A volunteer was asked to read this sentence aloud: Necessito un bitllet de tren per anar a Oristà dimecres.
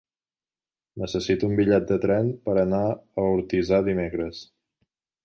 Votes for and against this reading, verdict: 0, 2, rejected